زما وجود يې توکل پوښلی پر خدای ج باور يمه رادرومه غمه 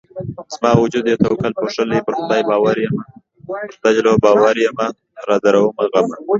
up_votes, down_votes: 2, 1